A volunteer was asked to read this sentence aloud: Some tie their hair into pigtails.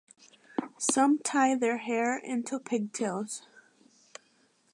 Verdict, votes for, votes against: accepted, 2, 0